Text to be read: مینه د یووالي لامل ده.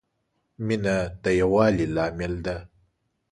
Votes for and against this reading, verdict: 2, 0, accepted